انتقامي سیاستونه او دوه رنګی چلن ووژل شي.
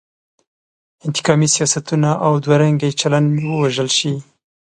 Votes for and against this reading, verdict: 2, 0, accepted